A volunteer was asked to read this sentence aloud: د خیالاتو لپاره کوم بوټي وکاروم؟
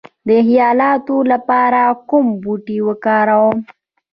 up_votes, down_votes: 2, 0